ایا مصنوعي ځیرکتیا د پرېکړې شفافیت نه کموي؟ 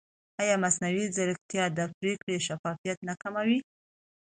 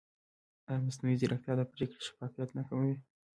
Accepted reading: first